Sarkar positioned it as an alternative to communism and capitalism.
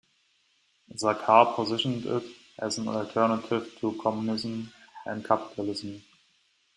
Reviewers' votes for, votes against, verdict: 2, 0, accepted